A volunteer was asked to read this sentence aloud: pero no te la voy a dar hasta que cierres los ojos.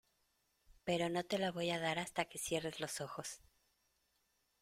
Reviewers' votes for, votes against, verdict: 2, 0, accepted